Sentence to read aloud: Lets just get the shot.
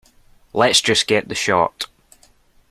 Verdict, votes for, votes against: accepted, 2, 0